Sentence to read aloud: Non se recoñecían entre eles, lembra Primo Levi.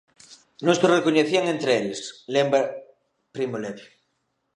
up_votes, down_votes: 1, 2